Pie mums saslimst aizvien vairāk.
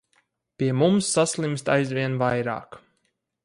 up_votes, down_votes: 4, 2